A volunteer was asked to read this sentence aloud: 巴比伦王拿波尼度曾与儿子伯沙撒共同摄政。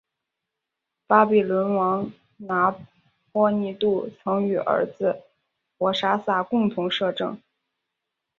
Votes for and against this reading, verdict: 2, 0, accepted